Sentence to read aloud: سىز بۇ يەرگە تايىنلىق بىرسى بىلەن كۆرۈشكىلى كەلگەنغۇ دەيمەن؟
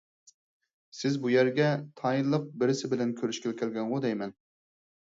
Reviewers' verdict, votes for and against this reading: accepted, 4, 0